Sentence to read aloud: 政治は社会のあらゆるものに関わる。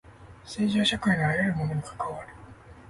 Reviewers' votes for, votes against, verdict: 2, 0, accepted